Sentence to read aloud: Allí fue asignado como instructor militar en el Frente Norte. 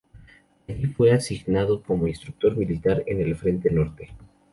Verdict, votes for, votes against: rejected, 0, 2